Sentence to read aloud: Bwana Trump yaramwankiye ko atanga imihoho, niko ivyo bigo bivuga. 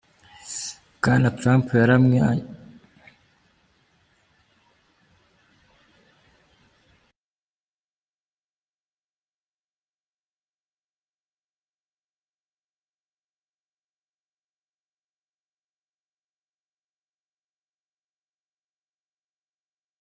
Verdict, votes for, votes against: rejected, 0, 2